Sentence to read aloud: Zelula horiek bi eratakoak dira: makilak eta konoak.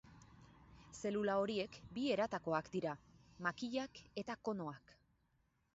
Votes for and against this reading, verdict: 4, 0, accepted